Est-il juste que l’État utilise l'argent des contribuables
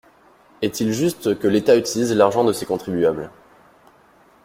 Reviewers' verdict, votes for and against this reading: rejected, 1, 2